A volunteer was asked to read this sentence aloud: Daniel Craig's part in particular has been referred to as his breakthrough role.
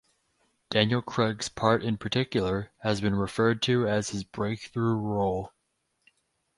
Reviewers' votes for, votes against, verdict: 0, 2, rejected